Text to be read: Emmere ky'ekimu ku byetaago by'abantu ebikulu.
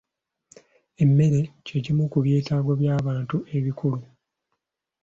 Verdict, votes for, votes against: accepted, 2, 0